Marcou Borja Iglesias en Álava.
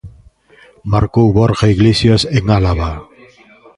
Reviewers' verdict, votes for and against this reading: accepted, 2, 0